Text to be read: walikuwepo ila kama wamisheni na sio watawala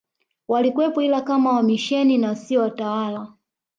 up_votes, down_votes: 2, 0